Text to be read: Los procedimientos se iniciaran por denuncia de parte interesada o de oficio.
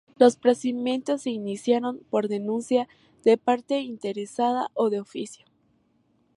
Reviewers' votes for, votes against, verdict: 0, 2, rejected